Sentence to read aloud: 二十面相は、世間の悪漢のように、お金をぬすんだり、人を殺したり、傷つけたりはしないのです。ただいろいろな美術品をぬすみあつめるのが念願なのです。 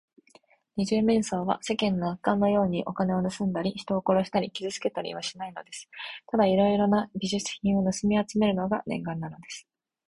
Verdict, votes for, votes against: accepted, 2, 1